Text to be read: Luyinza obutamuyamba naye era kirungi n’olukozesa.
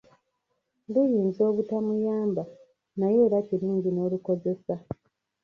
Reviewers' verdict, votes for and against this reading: rejected, 0, 2